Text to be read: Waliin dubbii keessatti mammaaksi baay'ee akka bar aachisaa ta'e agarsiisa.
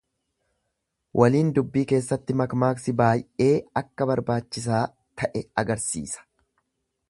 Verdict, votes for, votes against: rejected, 1, 2